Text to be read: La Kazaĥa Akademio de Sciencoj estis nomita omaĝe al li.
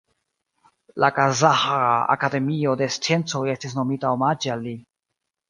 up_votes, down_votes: 2, 1